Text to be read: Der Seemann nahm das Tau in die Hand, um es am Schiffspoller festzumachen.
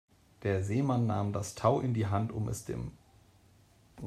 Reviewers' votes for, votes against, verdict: 0, 2, rejected